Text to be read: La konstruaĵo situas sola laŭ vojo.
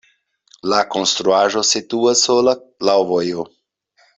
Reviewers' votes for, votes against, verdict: 2, 0, accepted